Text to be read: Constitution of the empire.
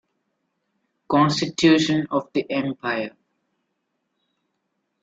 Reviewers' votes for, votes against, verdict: 1, 2, rejected